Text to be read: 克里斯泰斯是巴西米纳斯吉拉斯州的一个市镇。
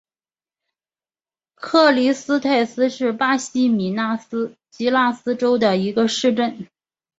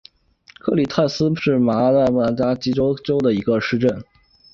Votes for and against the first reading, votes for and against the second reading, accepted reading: 2, 0, 0, 2, first